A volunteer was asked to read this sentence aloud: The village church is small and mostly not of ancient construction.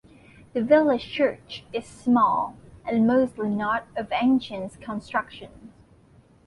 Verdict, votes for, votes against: rejected, 1, 2